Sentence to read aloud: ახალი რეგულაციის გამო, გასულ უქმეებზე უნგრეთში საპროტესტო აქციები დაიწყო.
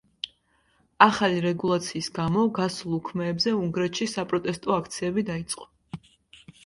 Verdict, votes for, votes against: accepted, 2, 0